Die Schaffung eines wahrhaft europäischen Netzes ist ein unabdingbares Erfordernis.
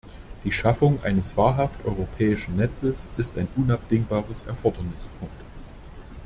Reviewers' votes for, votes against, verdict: 0, 2, rejected